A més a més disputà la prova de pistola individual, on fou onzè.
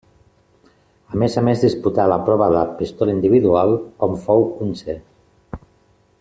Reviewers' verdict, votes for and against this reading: accepted, 2, 0